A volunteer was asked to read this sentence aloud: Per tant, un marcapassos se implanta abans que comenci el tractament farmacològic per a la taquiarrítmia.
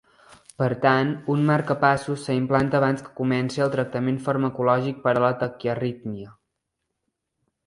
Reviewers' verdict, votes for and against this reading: accepted, 4, 0